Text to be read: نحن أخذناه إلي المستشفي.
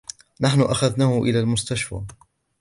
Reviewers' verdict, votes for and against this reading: accepted, 2, 0